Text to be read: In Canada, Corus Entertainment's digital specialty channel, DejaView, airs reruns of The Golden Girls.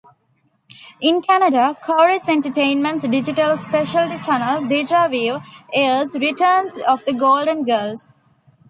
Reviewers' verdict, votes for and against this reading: rejected, 0, 2